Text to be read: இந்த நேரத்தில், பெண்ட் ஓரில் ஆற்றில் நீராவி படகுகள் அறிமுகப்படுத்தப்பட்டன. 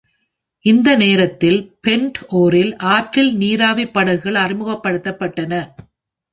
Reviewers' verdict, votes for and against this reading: accepted, 2, 0